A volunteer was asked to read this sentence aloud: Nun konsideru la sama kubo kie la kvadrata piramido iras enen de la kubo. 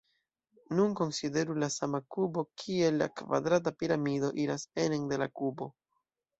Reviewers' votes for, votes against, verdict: 2, 0, accepted